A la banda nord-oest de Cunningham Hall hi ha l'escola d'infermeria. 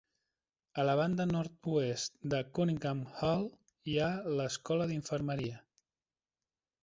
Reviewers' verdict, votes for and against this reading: rejected, 1, 2